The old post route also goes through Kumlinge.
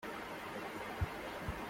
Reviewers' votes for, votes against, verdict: 0, 2, rejected